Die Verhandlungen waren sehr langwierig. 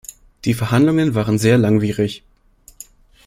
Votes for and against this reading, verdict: 2, 0, accepted